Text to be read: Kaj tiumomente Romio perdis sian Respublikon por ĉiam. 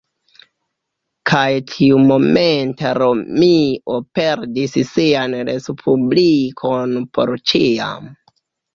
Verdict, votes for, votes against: accepted, 2, 0